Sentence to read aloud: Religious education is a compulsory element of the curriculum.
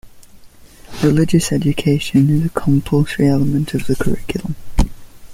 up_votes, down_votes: 2, 1